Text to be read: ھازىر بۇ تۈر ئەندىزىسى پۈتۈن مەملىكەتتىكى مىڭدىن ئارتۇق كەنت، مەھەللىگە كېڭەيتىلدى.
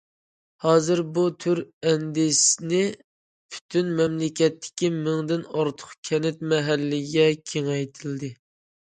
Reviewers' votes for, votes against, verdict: 0, 2, rejected